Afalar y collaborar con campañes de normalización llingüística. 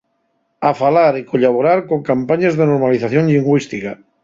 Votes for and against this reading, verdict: 2, 0, accepted